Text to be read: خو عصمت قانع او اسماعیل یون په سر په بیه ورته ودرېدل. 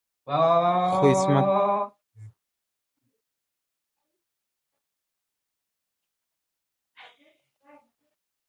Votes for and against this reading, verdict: 0, 2, rejected